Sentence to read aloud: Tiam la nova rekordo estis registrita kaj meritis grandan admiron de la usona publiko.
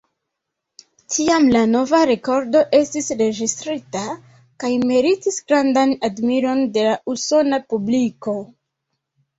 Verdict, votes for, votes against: accepted, 2, 1